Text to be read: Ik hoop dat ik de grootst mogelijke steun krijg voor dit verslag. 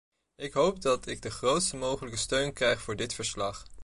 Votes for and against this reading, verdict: 1, 2, rejected